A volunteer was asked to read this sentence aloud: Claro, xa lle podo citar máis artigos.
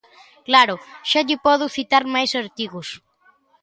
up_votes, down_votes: 2, 0